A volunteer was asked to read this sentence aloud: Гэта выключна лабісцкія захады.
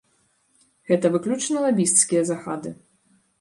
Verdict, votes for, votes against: rejected, 0, 2